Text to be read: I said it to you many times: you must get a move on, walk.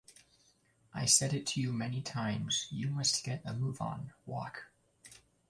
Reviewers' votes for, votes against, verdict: 2, 0, accepted